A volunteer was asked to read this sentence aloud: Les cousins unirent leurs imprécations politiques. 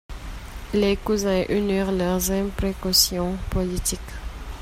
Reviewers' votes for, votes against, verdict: 1, 2, rejected